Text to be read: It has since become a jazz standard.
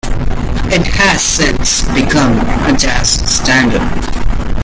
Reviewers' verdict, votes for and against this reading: accepted, 2, 0